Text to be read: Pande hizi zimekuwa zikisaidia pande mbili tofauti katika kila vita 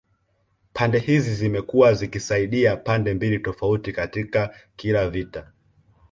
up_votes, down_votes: 2, 0